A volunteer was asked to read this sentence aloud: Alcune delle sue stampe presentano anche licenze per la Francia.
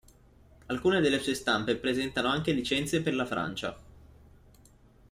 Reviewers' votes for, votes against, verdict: 2, 0, accepted